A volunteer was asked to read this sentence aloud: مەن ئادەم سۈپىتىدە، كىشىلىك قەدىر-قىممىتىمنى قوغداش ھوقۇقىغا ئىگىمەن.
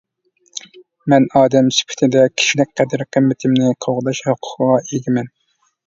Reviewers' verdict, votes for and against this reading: rejected, 0, 2